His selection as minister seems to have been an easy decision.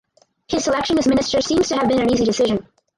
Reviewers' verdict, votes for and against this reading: accepted, 4, 2